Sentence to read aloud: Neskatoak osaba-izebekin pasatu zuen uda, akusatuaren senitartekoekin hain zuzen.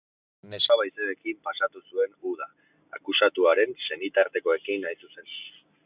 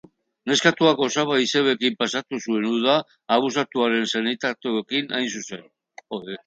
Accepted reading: first